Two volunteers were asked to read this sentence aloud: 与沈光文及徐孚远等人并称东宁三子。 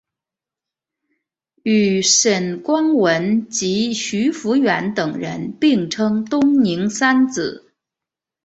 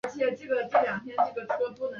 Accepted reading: first